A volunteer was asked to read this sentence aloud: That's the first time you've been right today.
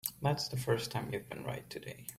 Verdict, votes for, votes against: accepted, 3, 0